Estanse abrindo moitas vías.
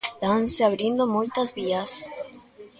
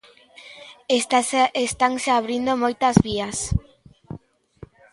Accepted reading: first